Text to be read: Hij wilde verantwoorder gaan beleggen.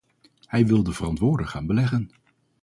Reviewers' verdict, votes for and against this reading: rejected, 0, 2